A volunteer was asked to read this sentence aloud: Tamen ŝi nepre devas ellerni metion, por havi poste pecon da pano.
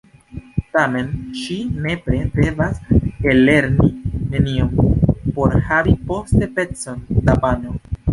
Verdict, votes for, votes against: rejected, 1, 2